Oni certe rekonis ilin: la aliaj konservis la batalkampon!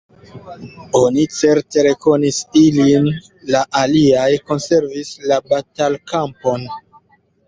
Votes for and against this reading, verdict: 2, 0, accepted